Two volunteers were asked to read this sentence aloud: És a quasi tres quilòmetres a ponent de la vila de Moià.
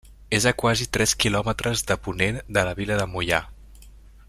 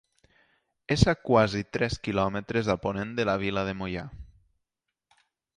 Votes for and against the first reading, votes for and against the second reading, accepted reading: 0, 2, 2, 0, second